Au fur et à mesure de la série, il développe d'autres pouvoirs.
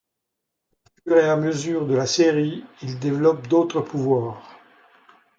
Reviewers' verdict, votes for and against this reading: rejected, 0, 2